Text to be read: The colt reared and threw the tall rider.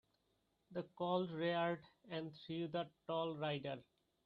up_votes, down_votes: 1, 2